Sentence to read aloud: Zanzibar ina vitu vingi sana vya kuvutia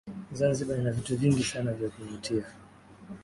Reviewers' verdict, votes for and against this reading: accepted, 2, 0